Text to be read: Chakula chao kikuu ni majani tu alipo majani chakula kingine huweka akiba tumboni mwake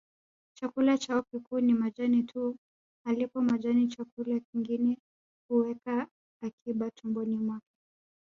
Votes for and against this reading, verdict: 2, 1, accepted